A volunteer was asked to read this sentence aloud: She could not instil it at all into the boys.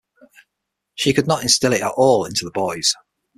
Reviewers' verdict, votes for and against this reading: accepted, 6, 0